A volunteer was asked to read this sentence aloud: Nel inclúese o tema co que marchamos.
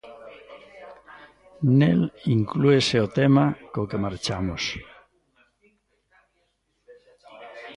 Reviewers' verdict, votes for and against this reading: accepted, 2, 0